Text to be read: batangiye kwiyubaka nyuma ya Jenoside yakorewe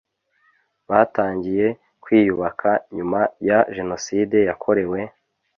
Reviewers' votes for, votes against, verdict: 2, 0, accepted